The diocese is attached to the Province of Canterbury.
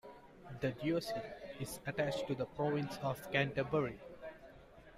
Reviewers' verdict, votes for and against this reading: accepted, 2, 1